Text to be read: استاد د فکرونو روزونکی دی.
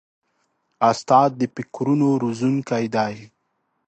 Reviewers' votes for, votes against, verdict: 2, 0, accepted